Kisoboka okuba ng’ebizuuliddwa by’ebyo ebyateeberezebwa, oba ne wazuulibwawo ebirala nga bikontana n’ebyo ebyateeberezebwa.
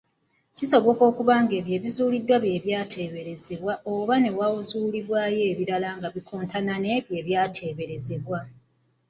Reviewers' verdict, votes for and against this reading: rejected, 1, 2